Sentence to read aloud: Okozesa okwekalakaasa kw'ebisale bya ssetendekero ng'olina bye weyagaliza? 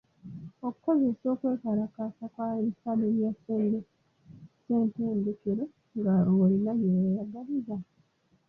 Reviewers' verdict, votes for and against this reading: rejected, 0, 2